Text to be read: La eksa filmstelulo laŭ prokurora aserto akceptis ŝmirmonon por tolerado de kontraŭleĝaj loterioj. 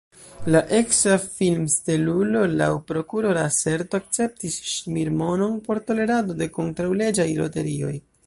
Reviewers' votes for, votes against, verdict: 1, 2, rejected